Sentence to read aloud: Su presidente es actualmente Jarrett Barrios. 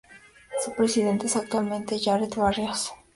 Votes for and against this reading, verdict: 2, 0, accepted